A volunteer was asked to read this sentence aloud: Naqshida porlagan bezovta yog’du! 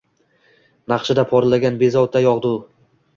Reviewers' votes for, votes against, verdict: 2, 0, accepted